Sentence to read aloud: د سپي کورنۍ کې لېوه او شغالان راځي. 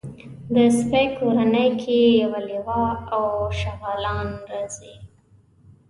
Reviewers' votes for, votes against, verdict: 1, 2, rejected